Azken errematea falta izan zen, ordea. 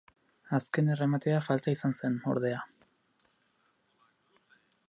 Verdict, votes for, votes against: accepted, 2, 0